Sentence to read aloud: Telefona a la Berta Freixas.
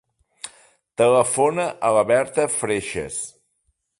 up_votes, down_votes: 3, 0